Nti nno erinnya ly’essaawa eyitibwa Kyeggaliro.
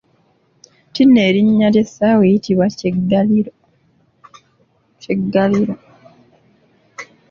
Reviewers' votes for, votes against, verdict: 1, 3, rejected